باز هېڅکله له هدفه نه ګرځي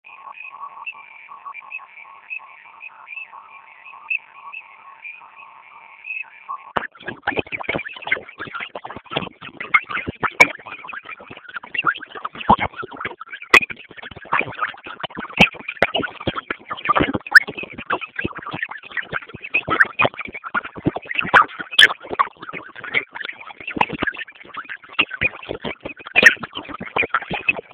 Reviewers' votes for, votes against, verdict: 0, 2, rejected